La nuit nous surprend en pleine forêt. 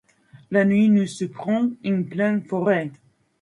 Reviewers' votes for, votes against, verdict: 1, 2, rejected